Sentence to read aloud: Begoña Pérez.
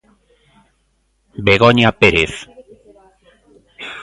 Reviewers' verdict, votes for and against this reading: accepted, 2, 0